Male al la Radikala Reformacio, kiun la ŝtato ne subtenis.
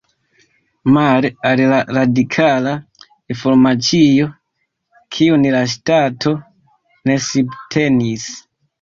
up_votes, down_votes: 0, 2